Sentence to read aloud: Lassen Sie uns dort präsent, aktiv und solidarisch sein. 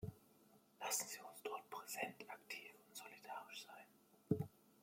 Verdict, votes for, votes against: rejected, 1, 2